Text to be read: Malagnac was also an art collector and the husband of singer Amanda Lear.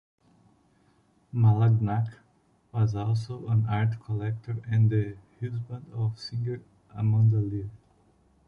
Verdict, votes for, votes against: accepted, 2, 0